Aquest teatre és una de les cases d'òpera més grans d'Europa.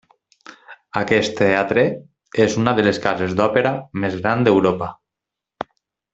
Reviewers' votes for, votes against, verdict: 2, 0, accepted